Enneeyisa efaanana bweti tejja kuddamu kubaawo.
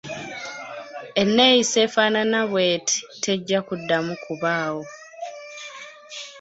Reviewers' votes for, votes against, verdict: 2, 0, accepted